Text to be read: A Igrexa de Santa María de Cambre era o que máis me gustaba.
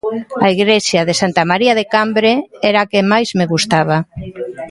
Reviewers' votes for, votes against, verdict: 0, 2, rejected